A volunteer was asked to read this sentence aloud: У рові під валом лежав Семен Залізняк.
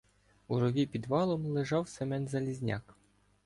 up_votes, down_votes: 1, 2